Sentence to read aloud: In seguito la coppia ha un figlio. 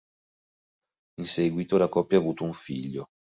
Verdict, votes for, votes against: rejected, 1, 3